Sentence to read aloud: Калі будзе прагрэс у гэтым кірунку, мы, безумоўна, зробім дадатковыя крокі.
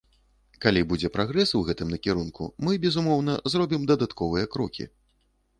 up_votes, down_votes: 0, 2